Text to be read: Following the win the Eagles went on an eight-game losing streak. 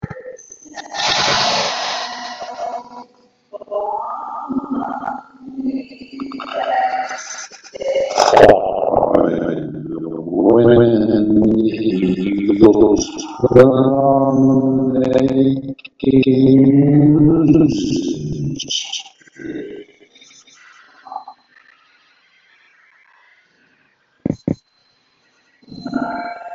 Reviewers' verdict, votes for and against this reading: rejected, 0, 2